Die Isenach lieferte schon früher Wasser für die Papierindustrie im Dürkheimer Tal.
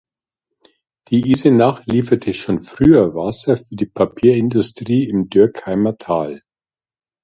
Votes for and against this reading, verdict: 0, 2, rejected